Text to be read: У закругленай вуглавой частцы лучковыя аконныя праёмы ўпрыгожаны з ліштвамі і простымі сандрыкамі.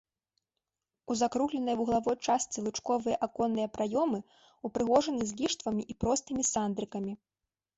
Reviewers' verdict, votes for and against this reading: accepted, 2, 0